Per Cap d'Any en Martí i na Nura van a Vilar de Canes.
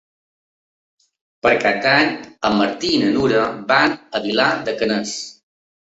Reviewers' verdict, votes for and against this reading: accepted, 2, 1